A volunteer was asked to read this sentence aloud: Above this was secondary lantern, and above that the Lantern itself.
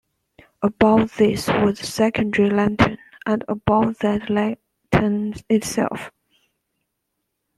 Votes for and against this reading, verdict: 0, 2, rejected